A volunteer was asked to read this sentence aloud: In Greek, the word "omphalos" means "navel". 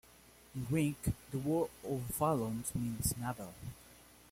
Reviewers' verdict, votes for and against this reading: rejected, 0, 2